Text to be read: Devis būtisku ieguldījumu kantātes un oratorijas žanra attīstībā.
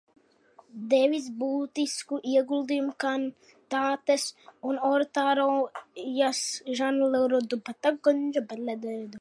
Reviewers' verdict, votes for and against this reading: rejected, 0, 2